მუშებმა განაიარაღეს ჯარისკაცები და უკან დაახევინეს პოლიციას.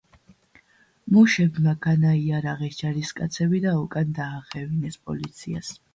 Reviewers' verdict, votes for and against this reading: accepted, 2, 0